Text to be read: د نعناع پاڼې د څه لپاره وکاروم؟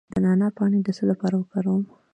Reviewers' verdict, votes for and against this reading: rejected, 1, 2